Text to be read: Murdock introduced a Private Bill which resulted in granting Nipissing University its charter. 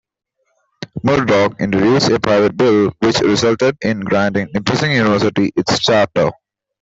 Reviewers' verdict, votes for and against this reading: accepted, 2, 0